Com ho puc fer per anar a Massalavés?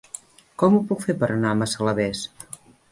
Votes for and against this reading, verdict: 4, 0, accepted